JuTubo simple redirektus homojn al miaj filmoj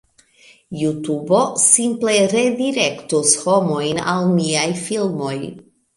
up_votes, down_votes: 3, 1